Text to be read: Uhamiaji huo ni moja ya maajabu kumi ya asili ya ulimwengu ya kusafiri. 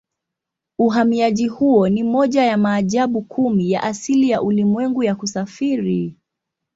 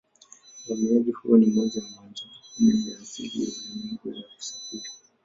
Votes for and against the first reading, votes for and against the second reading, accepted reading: 2, 1, 0, 2, first